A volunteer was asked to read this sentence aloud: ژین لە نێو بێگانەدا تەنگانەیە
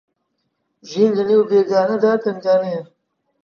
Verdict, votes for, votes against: rejected, 1, 2